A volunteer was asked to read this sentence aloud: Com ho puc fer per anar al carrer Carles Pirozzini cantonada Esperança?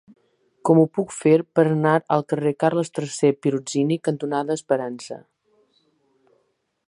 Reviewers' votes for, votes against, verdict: 1, 2, rejected